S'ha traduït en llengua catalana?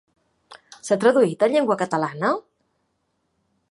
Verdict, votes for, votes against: accepted, 2, 0